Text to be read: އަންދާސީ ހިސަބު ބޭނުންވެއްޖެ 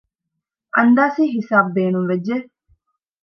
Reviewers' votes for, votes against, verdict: 2, 0, accepted